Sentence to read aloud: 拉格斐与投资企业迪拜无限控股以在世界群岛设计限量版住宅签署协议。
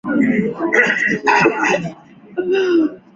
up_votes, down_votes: 0, 2